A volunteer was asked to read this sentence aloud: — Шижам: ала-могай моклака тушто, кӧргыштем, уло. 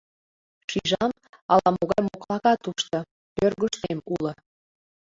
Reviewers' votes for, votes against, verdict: 0, 2, rejected